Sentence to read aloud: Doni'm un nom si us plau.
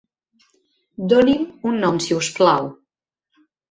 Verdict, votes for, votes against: accepted, 5, 0